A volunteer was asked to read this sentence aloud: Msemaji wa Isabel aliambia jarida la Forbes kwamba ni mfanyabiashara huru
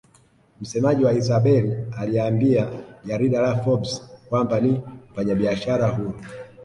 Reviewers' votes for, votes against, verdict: 6, 5, accepted